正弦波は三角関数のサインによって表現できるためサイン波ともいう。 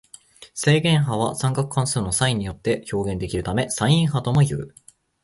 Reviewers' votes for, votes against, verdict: 2, 0, accepted